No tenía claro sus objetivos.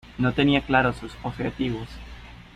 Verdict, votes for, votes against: accepted, 2, 0